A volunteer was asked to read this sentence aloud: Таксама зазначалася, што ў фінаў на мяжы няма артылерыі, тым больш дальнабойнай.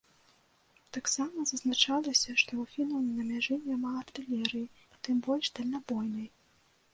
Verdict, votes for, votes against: rejected, 1, 2